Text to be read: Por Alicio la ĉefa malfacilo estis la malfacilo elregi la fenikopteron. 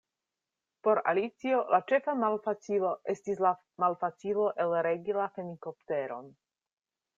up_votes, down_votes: 2, 0